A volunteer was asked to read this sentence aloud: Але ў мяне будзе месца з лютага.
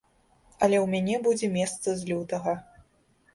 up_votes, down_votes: 2, 0